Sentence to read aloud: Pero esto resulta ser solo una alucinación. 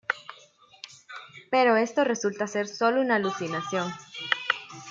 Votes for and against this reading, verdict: 1, 2, rejected